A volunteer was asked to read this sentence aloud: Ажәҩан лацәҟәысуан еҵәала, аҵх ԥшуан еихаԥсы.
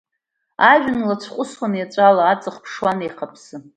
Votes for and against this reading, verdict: 2, 0, accepted